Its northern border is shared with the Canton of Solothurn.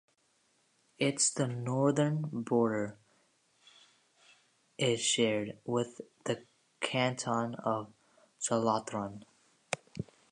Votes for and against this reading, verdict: 0, 2, rejected